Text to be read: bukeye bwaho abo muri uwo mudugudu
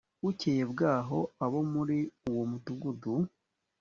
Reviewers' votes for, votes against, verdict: 2, 0, accepted